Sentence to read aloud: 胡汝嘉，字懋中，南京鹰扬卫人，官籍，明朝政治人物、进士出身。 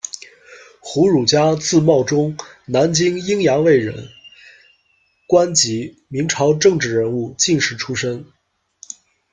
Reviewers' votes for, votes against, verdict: 2, 0, accepted